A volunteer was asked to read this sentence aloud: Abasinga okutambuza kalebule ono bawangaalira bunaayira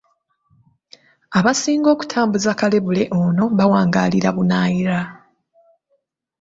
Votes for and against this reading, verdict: 2, 0, accepted